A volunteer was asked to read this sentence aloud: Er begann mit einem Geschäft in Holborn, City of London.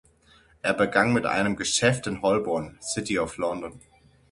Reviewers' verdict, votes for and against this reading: accepted, 6, 0